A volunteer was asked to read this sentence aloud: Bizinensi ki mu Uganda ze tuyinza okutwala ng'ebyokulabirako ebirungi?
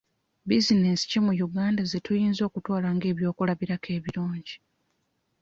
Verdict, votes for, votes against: accepted, 2, 0